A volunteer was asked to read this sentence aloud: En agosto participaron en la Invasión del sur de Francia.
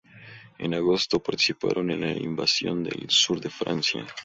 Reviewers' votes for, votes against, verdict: 2, 0, accepted